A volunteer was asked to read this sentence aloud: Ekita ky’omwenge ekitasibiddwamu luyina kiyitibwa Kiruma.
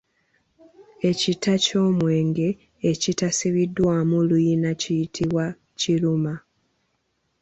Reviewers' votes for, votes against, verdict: 1, 2, rejected